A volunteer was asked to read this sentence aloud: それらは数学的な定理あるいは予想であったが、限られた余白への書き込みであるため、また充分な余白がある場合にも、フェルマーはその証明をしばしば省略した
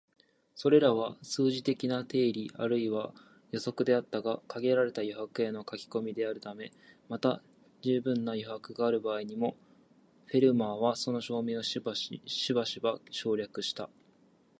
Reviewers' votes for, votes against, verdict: 2, 0, accepted